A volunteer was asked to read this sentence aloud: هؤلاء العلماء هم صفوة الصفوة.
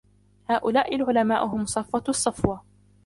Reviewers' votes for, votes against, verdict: 0, 2, rejected